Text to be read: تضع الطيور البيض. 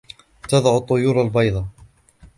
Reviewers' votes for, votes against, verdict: 2, 0, accepted